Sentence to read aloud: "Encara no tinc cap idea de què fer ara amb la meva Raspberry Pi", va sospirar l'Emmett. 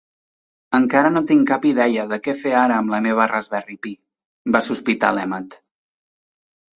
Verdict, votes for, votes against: rejected, 0, 2